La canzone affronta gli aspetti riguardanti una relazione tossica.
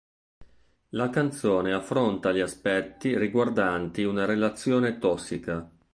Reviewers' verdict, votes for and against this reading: accepted, 3, 0